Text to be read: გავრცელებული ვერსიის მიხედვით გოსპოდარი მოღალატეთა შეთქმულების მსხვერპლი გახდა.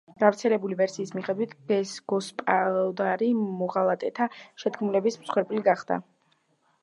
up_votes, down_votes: 0, 2